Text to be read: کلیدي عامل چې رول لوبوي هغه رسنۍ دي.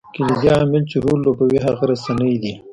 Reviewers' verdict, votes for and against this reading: rejected, 1, 2